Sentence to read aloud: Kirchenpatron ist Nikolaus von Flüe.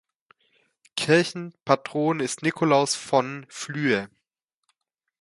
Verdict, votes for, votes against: accepted, 2, 0